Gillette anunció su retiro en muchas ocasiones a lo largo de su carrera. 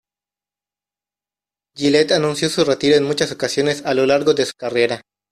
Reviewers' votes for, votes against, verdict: 2, 0, accepted